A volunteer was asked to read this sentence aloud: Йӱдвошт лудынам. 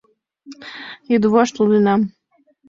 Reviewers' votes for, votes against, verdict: 2, 0, accepted